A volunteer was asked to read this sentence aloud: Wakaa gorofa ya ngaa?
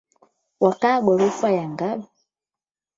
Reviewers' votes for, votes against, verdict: 4, 8, rejected